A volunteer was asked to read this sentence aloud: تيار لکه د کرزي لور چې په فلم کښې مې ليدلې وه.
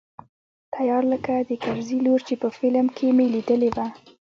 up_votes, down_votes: 1, 2